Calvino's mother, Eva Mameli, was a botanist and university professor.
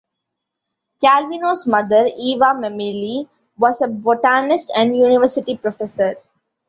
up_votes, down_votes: 2, 0